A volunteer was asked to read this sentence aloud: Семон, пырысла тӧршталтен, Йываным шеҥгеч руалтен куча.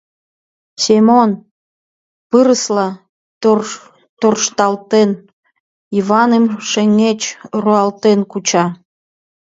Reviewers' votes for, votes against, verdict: 1, 3, rejected